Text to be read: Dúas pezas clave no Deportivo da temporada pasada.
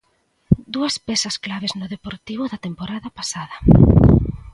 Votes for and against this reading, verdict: 2, 0, accepted